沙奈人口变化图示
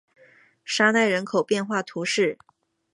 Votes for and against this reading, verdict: 2, 0, accepted